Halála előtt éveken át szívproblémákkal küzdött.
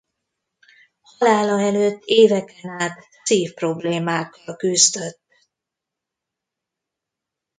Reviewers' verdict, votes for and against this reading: rejected, 0, 2